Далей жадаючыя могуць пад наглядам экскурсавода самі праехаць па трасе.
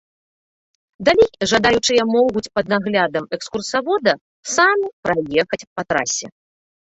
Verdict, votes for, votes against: rejected, 0, 2